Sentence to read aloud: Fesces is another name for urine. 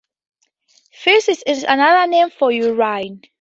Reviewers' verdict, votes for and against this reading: accepted, 4, 0